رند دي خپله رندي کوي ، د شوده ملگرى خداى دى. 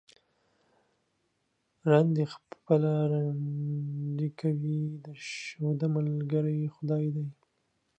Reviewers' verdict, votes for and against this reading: rejected, 1, 2